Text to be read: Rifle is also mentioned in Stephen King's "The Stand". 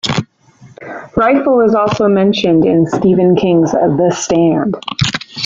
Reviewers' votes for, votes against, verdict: 2, 0, accepted